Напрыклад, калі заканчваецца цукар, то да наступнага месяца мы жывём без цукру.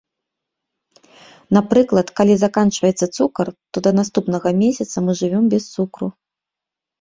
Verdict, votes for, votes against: rejected, 1, 2